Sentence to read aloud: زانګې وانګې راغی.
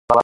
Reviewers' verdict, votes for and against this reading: rejected, 1, 2